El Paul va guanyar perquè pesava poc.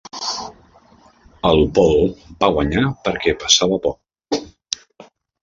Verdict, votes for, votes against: accepted, 2, 0